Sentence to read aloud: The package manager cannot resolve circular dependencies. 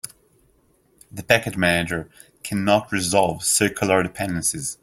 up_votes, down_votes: 2, 1